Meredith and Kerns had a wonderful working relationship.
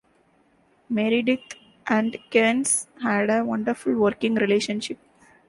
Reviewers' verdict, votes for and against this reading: accepted, 2, 0